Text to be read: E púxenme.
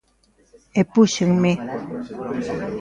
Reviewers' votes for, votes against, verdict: 2, 0, accepted